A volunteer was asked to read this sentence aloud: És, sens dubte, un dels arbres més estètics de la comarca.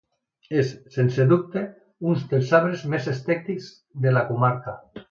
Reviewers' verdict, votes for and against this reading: rejected, 1, 2